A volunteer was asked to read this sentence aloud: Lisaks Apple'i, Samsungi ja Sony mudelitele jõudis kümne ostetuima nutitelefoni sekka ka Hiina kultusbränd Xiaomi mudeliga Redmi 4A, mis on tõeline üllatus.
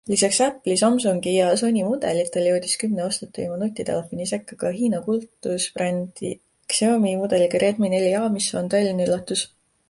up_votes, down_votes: 0, 2